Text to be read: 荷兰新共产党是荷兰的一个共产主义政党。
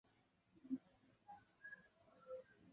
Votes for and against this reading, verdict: 1, 2, rejected